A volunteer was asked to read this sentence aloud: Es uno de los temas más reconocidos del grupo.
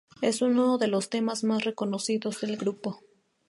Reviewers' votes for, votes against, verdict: 2, 0, accepted